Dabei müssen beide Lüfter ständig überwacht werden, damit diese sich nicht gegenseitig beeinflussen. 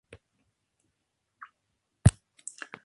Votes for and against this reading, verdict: 0, 2, rejected